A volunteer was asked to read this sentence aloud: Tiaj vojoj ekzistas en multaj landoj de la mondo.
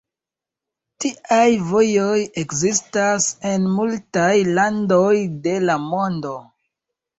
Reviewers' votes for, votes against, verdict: 2, 0, accepted